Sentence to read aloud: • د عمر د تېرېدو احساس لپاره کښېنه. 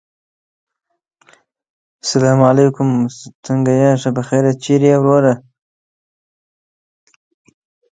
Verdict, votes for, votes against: rejected, 0, 8